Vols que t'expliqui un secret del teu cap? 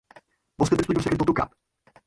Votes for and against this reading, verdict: 0, 4, rejected